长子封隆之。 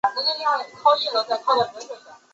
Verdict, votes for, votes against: rejected, 0, 2